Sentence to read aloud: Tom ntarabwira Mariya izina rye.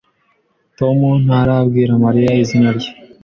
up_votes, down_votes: 2, 0